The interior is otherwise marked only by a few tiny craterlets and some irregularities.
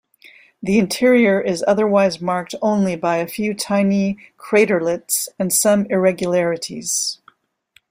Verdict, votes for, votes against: accepted, 2, 0